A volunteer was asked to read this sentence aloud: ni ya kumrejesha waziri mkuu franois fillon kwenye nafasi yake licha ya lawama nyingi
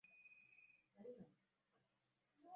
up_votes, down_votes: 0, 2